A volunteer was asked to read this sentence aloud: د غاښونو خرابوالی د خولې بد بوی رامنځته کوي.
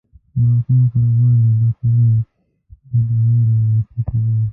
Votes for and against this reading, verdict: 1, 2, rejected